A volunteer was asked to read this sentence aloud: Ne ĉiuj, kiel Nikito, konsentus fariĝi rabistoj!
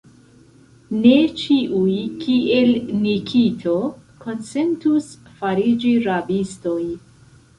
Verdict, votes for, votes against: accepted, 2, 0